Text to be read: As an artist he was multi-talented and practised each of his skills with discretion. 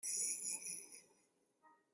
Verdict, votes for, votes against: rejected, 0, 2